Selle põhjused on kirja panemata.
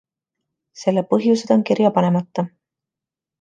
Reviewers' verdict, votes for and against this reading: accepted, 2, 0